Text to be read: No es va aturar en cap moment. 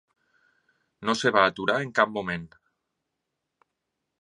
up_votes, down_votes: 0, 3